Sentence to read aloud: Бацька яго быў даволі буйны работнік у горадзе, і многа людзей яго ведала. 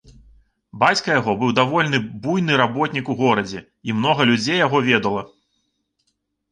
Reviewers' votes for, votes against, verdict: 0, 2, rejected